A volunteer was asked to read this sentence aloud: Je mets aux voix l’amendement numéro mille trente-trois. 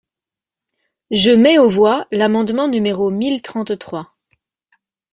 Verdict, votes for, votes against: accepted, 2, 0